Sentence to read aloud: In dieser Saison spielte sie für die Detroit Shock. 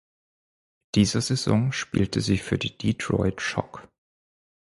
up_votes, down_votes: 2, 4